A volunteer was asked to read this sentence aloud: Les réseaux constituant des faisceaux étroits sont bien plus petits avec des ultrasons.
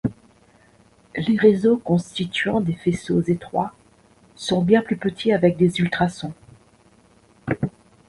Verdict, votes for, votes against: accepted, 2, 0